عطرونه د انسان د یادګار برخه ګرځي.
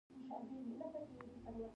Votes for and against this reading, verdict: 1, 2, rejected